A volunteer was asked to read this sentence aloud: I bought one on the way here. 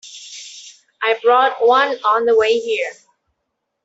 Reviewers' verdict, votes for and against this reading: rejected, 0, 2